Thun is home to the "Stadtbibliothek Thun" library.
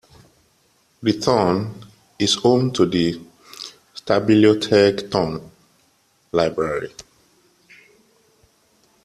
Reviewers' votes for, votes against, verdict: 1, 2, rejected